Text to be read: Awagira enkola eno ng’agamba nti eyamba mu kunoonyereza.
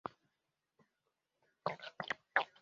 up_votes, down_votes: 0, 2